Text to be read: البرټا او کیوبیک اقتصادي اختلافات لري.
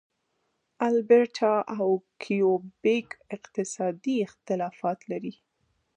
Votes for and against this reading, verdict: 0, 2, rejected